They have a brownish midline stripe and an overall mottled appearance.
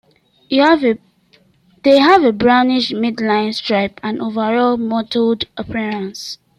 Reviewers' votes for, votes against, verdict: 1, 2, rejected